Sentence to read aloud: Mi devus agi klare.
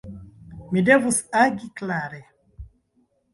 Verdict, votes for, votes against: rejected, 0, 2